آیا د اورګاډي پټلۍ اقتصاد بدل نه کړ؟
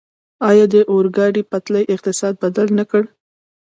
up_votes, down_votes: 1, 2